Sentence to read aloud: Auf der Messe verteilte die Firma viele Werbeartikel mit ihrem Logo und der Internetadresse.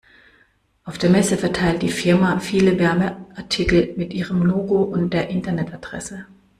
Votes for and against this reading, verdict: 1, 2, rejected